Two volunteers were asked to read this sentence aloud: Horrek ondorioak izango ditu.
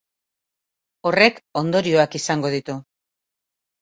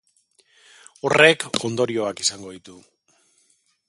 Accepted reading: first